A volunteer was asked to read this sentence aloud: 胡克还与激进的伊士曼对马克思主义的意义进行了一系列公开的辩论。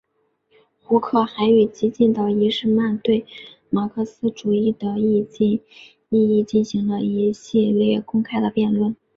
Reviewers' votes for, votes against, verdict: 4, 0, accepted